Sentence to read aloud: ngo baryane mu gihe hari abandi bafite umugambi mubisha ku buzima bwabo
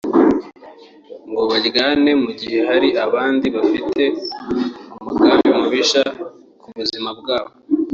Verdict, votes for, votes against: accepted, 2, 0